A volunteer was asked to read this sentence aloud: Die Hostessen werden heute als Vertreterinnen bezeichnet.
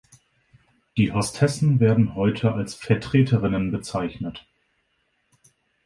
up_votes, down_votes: 2, 0